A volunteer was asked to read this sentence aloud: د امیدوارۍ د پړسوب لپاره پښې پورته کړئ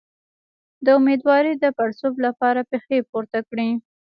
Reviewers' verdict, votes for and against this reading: rejected, 1, 2